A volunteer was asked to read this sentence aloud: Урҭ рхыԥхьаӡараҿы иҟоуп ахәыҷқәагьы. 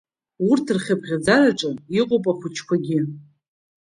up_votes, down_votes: 2, 0